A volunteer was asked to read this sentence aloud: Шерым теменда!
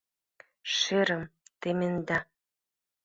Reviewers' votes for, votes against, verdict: 2, 0, accepted